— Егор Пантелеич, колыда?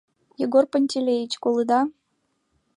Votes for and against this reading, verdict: 2, 0, accepted